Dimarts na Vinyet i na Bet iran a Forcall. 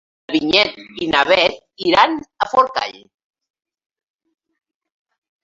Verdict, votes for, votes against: rejected, 0, 2